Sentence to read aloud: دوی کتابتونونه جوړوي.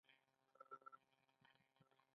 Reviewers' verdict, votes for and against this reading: rejected, 0, 2